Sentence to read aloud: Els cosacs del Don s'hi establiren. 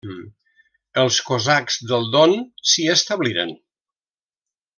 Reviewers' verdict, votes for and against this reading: accepted, 3, 0